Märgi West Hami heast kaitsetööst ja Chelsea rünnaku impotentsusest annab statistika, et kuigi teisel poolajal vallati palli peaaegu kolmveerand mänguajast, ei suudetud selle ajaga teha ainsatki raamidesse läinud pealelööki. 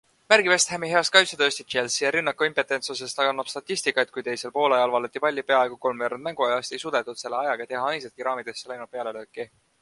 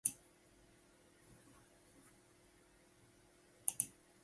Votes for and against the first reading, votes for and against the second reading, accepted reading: 2, 1, 0, 2, first